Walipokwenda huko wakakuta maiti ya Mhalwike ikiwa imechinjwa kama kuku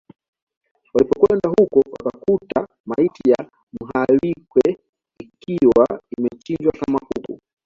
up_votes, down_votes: 2, 0